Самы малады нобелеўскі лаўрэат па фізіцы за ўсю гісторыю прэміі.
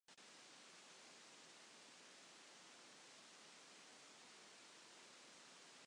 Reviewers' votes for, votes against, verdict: 0, 2, rejected